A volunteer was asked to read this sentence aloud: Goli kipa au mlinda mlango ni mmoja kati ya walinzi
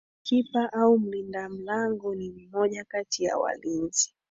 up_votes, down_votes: 1, 2